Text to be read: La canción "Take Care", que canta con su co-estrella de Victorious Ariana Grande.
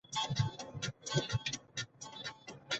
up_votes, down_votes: 0, 2